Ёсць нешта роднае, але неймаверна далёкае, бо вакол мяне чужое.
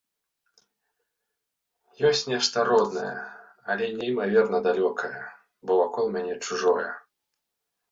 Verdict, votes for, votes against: accepted, 2, 0